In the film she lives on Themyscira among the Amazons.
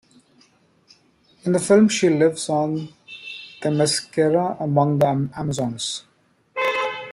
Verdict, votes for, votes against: accepted, 2, 0